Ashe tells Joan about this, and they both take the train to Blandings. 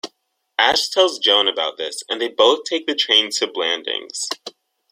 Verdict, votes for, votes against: accepted, 2, 0